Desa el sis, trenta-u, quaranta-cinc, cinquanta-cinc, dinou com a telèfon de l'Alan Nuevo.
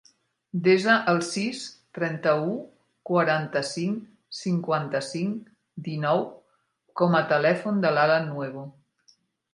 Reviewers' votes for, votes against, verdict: 3, 0, accepted